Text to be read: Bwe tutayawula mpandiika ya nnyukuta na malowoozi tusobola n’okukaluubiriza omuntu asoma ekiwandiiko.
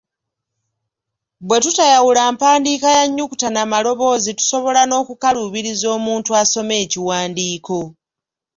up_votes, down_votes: 2, 0